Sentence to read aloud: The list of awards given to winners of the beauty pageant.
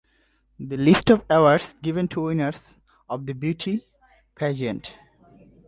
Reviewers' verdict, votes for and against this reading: accepted, 2, 0